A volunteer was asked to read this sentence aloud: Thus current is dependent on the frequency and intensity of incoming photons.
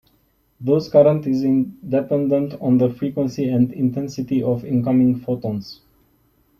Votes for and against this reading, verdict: 0, 2, rejected